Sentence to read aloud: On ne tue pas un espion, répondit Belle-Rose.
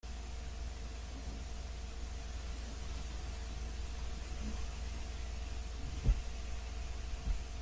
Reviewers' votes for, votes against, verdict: 0, 2, rejected